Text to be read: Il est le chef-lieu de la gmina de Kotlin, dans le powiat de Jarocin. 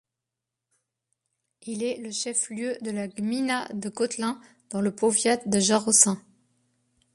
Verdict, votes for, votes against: accepted, 2, 0